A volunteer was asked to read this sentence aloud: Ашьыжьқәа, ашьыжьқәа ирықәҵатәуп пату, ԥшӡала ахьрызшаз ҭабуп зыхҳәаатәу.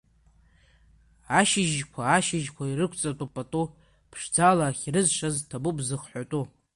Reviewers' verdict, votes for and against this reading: accepted, 3, 0